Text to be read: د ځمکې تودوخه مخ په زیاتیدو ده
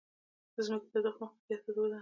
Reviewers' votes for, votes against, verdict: 2, 1, accepted